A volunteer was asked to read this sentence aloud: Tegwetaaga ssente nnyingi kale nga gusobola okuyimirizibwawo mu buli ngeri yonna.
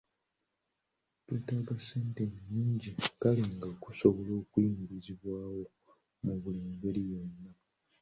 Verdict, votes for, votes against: accepted, 2, 0